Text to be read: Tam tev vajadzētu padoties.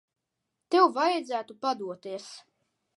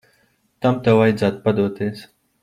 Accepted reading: second